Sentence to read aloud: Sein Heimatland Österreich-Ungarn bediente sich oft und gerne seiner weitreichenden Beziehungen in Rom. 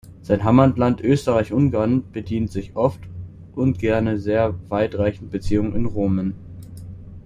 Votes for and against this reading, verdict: 0, 2, rejected